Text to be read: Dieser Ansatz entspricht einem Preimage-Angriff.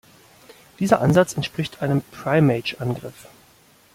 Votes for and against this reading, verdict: 1, 2, rejected